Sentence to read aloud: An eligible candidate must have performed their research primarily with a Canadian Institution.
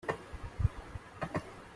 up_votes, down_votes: 1, 2